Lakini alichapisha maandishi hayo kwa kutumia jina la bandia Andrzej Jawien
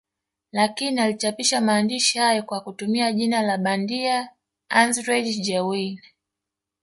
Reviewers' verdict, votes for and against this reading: accepted, 2, 0